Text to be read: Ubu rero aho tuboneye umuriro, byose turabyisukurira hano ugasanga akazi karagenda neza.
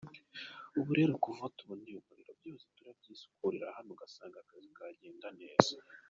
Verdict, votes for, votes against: accepted, 2, 1